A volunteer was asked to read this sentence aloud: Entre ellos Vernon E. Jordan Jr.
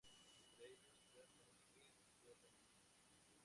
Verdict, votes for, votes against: rejected, 0, 2